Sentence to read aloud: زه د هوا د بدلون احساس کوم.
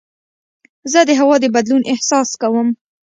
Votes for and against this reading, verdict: 2, 0, accepted